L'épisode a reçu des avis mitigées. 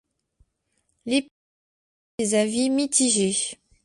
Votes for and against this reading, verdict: 0, 2, rejected